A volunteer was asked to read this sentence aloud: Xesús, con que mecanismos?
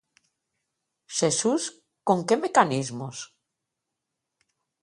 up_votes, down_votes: 4, 0